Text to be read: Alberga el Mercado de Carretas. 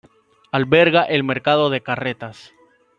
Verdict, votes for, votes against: accepted, 2, 1